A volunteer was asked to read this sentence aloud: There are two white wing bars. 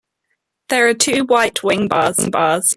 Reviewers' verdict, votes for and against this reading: rejected, 0, 2